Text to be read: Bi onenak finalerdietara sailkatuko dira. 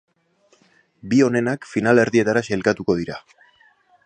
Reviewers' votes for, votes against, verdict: 2, 0, accepted